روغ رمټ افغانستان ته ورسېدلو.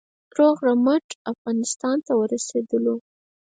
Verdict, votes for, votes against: rejected, 0, 4